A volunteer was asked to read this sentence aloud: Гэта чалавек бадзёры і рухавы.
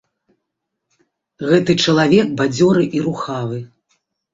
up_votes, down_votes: 0, 2